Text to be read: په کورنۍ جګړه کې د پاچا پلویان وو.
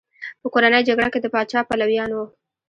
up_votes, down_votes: 2, 1